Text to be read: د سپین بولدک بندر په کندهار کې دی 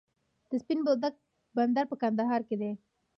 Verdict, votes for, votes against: rejected, 1, 2